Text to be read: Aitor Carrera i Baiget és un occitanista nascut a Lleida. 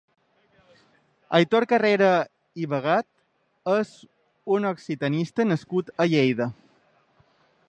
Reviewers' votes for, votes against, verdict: 0, 2, rejected